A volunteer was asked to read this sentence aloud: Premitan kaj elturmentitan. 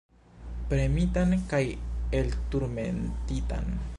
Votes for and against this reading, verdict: 1, 2, rejected